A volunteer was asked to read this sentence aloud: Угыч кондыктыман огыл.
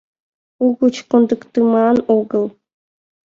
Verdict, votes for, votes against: accepted, 2, 0